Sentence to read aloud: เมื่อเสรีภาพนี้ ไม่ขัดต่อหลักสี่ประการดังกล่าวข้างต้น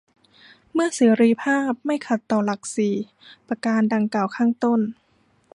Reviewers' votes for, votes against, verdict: 1, 2, rejected